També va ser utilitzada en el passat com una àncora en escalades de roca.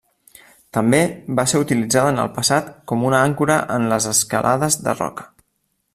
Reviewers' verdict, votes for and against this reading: rejected, 1, 2